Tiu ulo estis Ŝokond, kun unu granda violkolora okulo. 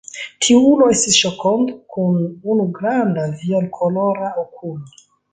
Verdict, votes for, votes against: accepted, 3, 0